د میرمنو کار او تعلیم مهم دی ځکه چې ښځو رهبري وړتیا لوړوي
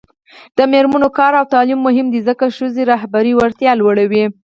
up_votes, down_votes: 0, 4